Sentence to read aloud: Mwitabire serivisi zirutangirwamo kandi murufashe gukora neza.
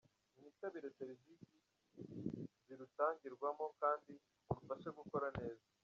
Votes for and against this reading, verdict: 2, 1, accepted